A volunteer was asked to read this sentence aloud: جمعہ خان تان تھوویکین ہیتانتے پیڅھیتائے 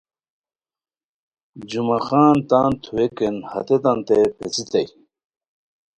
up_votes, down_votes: 1, 2